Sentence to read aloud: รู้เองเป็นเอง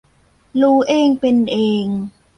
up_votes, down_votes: 1, 2